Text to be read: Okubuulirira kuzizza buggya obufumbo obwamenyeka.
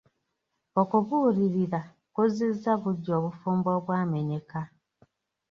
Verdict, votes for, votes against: accepted, 2, 0